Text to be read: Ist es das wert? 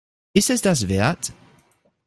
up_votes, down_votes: 2, 0